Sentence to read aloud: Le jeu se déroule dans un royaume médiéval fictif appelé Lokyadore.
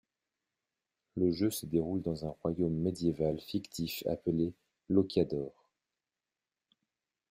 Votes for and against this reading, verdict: 2, 1, accepted